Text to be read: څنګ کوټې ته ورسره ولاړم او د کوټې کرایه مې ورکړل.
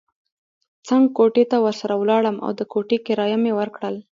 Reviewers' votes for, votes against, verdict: 2, 0, accepted